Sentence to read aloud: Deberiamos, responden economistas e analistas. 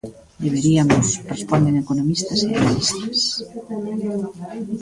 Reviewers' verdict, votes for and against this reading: rejected, 0, 2